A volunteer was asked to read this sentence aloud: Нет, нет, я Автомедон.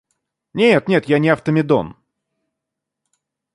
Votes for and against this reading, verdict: 1, 2, rejected